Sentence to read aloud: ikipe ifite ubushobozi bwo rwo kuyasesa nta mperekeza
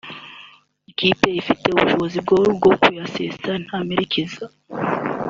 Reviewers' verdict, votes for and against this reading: accepted, 2, 0